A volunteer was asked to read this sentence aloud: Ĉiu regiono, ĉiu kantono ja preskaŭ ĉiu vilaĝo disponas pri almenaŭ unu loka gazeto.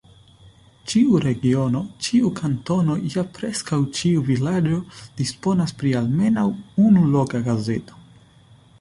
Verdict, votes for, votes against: accepted, 2, 0